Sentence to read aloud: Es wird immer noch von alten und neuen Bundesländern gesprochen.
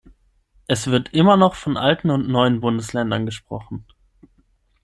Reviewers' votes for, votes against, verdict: 6, 0, accepted